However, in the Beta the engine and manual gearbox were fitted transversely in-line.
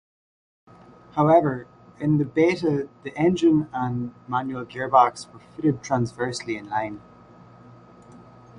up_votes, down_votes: 2, 0